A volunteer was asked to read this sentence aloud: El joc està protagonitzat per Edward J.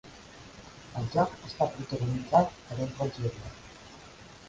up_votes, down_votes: 2, 3